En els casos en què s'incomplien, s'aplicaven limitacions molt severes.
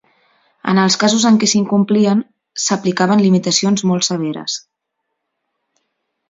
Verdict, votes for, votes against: accepted, 2, 0